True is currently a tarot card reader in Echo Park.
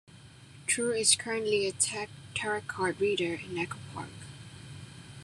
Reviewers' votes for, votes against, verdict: 0, 2, rejected